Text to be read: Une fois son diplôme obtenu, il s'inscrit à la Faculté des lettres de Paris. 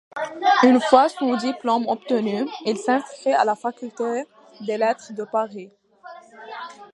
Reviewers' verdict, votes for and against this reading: rejected, 0, 2